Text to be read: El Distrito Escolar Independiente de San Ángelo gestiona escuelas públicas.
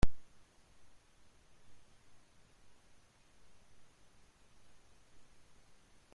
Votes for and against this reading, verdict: 0, 2, rejected